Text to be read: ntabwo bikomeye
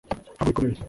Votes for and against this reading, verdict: 1, 2, rejected